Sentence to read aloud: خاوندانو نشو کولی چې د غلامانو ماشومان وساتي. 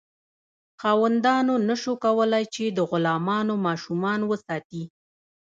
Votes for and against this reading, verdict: 2, 0, accepted